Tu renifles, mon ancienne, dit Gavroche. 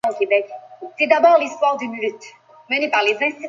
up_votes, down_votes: 0, 2